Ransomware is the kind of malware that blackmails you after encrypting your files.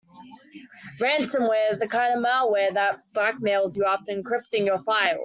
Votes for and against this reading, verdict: 0, 2, rejected